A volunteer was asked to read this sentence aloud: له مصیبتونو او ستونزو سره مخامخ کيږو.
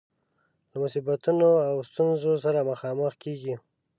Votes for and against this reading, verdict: 0, 2, rejected